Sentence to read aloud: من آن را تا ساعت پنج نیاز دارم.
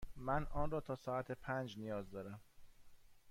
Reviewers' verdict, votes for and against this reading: accepted, 2, 0